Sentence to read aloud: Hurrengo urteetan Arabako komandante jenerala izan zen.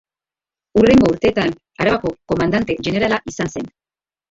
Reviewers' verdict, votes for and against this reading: rejected, 0, 2